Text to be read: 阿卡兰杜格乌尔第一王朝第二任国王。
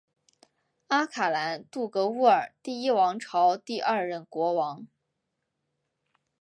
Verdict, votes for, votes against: accepted, 2, 1